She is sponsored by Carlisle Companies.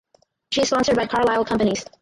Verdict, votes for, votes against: rejected, 0, 4